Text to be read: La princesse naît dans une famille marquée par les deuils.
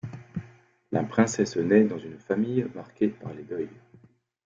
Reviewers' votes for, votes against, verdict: 1, 2, rejected